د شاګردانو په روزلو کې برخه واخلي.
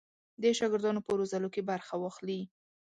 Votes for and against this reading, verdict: 2, 0, accepted